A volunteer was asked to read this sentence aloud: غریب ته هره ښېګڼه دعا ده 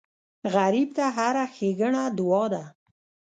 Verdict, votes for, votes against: accepted, 2, 0